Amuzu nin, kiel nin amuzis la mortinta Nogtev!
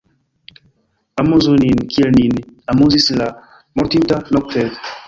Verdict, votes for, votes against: rejected, 1, 2